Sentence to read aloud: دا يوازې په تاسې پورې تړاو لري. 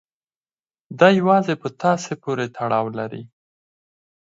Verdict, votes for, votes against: accepted, 4, 0